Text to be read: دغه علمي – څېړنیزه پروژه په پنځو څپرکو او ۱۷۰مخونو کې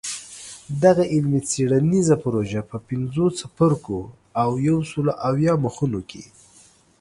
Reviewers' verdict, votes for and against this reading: rejected, 0, 2